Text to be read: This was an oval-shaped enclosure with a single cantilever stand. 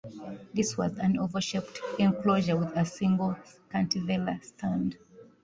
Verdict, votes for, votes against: rejected, 0, 2